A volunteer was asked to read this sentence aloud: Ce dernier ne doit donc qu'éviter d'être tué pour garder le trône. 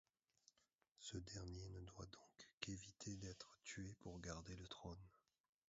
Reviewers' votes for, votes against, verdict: 1, 2, rejected